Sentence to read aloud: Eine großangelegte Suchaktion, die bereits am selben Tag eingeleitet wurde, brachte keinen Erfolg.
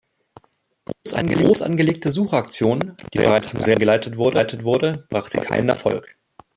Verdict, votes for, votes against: rejected, 0, 2